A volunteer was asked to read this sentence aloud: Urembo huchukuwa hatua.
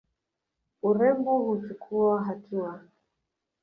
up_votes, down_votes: 2, 0